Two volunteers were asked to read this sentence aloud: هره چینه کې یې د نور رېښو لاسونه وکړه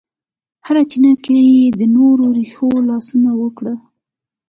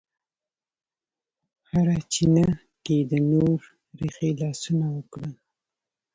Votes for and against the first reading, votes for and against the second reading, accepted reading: 2, 0, 0, 2, first